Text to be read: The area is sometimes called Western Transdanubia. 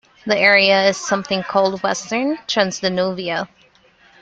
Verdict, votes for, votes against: rejected, 0, 2